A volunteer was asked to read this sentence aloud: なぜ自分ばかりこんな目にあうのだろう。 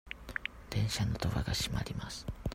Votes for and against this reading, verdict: 0, 2, rejected